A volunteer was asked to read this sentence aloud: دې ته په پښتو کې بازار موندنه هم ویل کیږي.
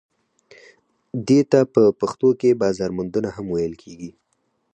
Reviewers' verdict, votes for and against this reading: accepted, 4, 0